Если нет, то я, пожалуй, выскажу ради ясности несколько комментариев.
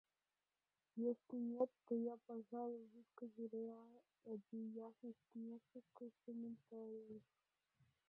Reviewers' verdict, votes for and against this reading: rejected, 0, 2